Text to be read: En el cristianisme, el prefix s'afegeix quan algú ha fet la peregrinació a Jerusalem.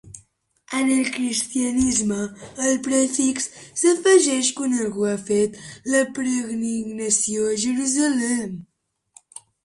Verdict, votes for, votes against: rejected, 1, 2